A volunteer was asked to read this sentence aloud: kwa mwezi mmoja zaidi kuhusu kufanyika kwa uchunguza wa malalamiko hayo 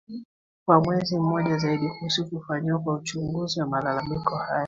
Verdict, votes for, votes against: accepted, 2, 1